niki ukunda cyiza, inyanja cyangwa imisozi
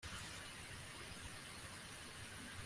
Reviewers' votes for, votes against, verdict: 1, 2, rejected